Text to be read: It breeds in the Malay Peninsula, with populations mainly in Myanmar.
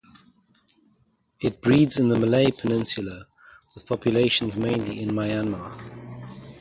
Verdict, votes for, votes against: rejected, 0, 4